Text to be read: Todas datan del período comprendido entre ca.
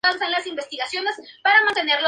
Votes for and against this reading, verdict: 0, 2, rejected